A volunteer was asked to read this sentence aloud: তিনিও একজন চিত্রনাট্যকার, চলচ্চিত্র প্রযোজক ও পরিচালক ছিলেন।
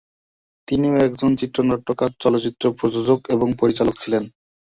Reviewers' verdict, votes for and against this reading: rejected, 2, 3